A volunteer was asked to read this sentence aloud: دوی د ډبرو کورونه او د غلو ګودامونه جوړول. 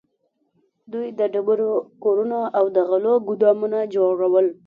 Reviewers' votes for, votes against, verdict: 2, 0, accepted